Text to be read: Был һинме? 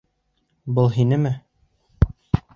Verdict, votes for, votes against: accepted, 2, 0